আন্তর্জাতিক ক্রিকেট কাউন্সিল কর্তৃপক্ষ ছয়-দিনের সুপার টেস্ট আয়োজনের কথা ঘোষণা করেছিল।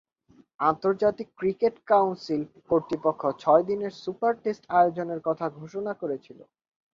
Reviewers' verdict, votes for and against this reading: accepted, 2, 0